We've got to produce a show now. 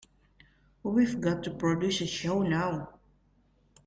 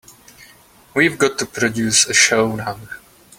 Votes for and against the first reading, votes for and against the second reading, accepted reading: 1, 2, 3, 0, second